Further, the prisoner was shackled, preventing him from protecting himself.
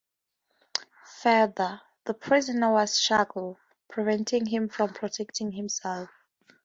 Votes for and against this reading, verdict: 2, 0, accepted